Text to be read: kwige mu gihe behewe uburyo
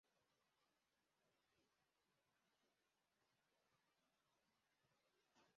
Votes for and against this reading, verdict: 0, 2, rejected